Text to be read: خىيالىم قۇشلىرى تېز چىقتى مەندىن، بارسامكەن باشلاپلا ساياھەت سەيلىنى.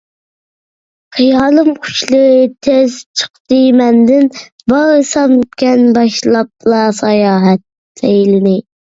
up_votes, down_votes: 2, 1